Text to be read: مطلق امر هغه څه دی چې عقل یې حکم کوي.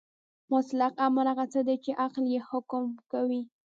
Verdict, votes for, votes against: rejected, 0, 2